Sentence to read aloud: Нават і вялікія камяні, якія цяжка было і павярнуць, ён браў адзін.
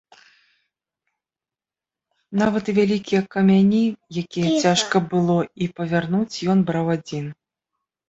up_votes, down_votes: 0, 2